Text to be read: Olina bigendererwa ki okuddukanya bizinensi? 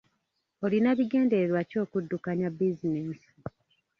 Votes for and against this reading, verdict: 1, 2, rejected